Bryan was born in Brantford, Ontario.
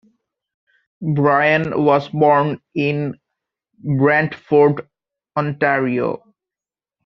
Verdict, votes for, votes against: accepted, 2, 0